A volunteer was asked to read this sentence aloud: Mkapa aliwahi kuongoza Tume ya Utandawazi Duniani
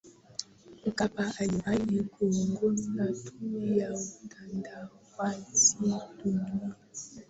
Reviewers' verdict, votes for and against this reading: rejected, 0, 2